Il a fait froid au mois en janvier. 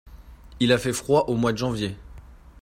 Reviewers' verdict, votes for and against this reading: rejected, 0, 2